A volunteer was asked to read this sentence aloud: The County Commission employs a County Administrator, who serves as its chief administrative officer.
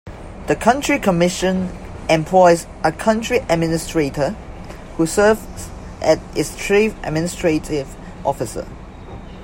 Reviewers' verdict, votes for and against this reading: rejected, 1, 2